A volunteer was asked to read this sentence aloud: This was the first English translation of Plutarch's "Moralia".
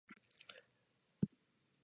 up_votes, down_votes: 0, 2